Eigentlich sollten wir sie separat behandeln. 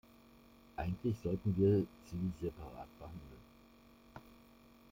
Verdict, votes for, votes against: rejected, 1, 2